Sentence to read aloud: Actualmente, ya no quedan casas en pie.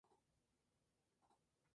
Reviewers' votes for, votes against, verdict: 0, 2, rejected